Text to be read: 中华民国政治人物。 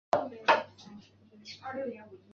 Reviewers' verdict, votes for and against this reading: rejected, 2, 4